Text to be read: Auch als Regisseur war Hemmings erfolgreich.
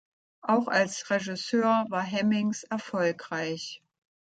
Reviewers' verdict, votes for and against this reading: accepted, 2, 0